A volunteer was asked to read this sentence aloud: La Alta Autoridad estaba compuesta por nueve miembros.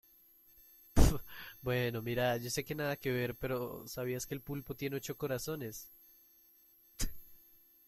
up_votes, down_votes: 0, 2